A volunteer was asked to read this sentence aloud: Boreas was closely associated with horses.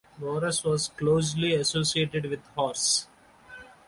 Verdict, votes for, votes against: accepted, 2, 0